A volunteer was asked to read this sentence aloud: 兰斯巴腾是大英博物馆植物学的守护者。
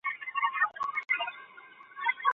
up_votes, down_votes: 1, 2